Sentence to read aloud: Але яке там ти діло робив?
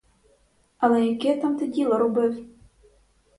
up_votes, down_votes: 2, 2